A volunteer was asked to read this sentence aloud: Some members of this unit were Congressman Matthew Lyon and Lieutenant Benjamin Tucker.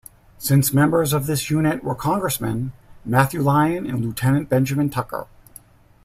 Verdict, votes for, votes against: rejected, 1, 2